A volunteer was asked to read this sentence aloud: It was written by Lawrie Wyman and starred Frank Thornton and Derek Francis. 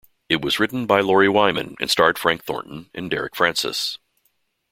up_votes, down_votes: 2, 0